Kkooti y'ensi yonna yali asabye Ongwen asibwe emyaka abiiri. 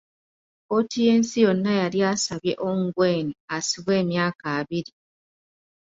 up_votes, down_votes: 2, 0